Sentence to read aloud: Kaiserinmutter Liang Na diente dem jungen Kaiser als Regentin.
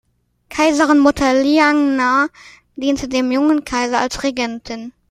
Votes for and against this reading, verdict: 2, 0, accepted